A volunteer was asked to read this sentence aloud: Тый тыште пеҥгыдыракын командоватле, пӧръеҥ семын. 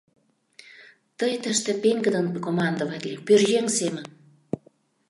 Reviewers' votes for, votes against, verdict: 0, 2, rejected